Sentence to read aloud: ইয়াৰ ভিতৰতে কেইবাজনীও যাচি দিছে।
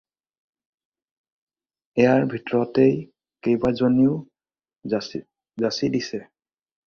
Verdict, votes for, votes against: rejected, 0, 2